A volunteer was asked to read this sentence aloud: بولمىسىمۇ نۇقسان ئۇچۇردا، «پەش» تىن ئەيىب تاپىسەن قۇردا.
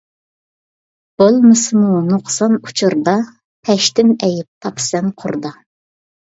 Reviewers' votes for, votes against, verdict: 2, 0, accepted